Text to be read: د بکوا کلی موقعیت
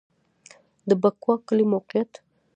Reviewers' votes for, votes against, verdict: 0, 2, rejected